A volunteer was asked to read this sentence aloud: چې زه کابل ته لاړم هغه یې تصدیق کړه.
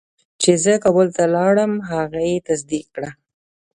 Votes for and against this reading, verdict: 2, 0, accepted